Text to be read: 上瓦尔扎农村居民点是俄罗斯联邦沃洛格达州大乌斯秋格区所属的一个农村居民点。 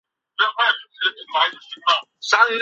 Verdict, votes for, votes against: rejected, 1, 3